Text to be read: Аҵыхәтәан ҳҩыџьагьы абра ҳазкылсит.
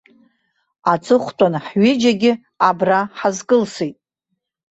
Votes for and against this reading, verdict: 2, 0, accepted